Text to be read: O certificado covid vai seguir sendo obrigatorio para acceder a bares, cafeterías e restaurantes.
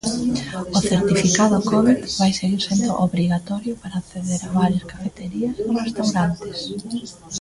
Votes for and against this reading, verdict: 0, 2, rejected